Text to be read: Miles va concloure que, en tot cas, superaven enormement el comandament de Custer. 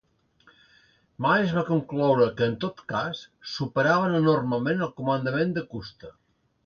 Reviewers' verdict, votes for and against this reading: accepted, 2, 0